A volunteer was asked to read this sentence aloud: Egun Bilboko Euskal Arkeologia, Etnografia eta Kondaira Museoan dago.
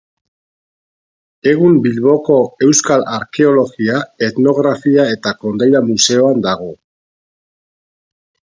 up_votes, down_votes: 6, 0